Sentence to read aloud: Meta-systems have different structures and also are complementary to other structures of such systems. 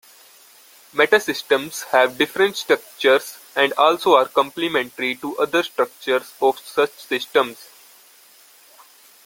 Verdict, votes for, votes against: accepted, 2, 0